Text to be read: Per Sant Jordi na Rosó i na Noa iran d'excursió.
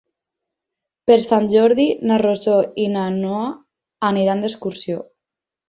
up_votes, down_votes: 2, 6